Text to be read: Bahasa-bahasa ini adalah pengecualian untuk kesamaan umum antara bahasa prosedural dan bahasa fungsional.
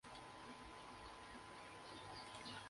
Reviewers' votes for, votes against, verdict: 0, 2, rejected